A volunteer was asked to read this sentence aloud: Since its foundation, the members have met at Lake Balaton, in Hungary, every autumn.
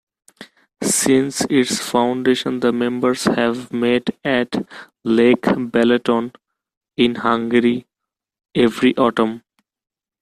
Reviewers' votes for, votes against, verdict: 2, 0, accepted